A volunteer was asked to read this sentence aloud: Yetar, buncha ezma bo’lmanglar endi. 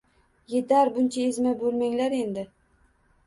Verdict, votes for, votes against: accepted, 2, 0